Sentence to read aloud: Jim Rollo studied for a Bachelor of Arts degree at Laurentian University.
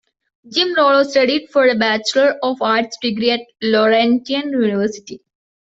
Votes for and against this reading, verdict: 2, 0, accepted